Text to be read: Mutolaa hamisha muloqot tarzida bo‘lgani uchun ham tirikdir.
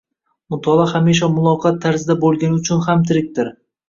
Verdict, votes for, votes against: accepted, 2, 0